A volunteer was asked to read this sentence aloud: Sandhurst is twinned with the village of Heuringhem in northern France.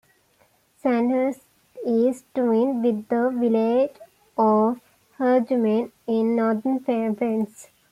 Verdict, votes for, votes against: rejected, 0, 2